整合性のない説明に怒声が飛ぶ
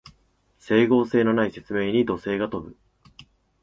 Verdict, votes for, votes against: accepted, 4, 0